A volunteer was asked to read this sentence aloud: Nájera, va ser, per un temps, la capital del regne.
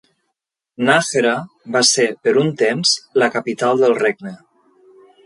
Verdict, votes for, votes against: rejected, 1, 2